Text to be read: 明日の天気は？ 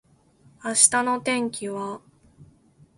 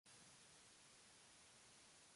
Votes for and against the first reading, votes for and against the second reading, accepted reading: 2, 0, 0, 2, first